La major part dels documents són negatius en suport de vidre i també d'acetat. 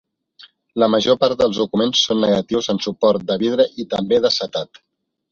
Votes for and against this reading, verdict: 2, 0, accepted